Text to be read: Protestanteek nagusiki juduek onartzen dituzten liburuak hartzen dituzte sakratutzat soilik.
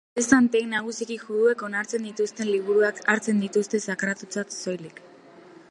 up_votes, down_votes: 1, 2